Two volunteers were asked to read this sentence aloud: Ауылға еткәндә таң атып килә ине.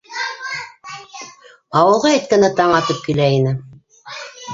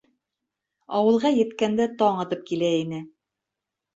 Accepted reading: second